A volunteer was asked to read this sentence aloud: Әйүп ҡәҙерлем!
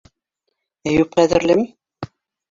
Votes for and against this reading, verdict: 2, 1, accepted